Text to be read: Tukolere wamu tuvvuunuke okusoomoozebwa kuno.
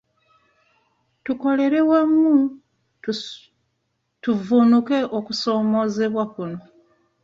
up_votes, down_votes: 1, 2